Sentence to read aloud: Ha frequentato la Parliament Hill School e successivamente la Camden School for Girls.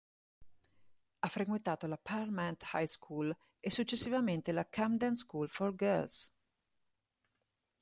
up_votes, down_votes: 1, 2